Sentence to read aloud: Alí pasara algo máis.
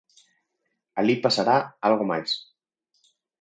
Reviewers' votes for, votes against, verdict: 0, 4, rejected